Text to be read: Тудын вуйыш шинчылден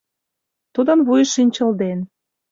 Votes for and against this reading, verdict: 2, 0, accepted